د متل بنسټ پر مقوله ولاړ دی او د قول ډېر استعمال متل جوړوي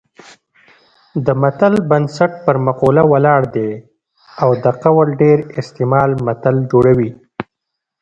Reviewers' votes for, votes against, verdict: 2, 0, accepted